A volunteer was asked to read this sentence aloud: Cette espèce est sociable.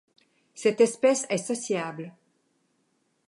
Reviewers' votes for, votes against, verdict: 2, 0, accepted